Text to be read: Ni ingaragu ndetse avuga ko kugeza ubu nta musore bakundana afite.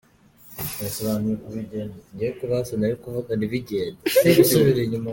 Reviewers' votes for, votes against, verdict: 0, 2, rejected